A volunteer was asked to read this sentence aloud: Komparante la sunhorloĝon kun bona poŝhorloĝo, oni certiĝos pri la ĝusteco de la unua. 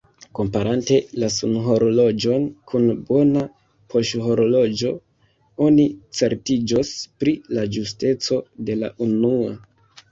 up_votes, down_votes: 2, 1